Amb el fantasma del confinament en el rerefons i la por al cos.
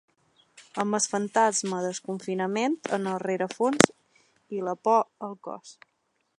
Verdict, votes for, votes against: accepted, 2, 1